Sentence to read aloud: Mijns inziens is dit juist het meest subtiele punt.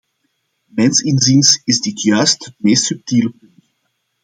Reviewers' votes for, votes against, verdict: 0, 2, rejected